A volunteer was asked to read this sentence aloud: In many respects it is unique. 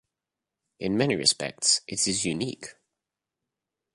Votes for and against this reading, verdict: 2, 0, accepted